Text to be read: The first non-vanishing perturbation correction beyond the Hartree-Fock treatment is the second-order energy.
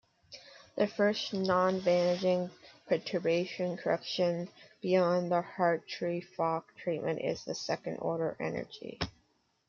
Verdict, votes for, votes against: rejected, 1, 2